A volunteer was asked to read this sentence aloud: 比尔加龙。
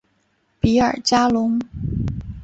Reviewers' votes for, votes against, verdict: 2, 0, accepted